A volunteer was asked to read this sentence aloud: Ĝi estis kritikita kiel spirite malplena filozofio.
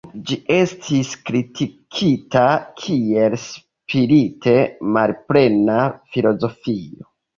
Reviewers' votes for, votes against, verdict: 2, 0, accepted